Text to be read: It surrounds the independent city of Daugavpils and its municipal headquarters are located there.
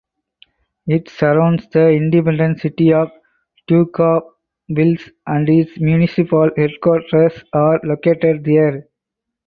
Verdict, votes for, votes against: accepted, 2, 0